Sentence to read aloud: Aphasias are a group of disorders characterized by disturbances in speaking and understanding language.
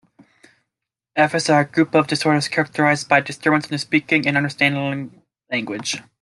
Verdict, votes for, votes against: rejected, 1, 2